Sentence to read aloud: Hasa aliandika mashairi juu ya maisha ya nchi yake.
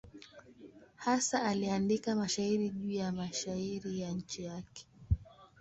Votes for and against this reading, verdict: 0, 2, rejected